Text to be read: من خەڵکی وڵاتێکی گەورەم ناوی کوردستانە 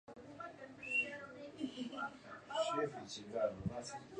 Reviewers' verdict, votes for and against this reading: rejected, 0, 2